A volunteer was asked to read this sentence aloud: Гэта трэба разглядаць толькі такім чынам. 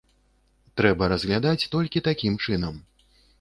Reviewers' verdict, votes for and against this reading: rejected, 1, 2